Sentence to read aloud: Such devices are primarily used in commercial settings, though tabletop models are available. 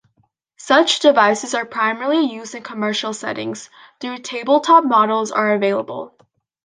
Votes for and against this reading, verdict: 2, 0, accepted